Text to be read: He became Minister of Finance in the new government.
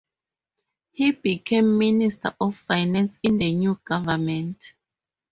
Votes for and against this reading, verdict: 0, 2, rejected